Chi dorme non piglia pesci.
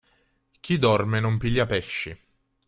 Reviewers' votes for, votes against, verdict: 3, 0, accepted